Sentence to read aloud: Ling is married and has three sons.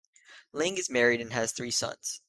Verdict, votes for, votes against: accepted, 2, 0